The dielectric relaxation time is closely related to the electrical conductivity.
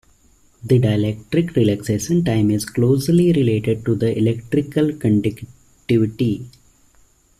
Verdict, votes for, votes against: accepted, 2, 1